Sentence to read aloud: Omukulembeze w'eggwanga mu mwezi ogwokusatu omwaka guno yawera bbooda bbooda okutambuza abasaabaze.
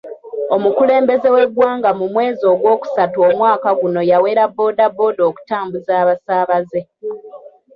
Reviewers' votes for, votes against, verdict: 2, 0, accepted